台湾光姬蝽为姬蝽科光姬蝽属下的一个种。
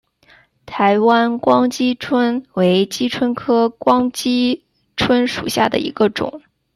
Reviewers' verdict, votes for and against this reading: rejected, 1, 2